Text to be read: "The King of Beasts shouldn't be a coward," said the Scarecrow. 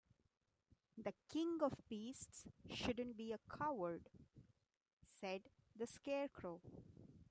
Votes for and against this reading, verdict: 2, 0, accepted